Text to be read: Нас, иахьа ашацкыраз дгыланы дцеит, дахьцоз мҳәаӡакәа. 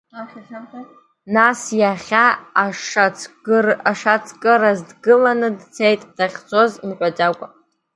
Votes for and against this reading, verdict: 0, 2, rejected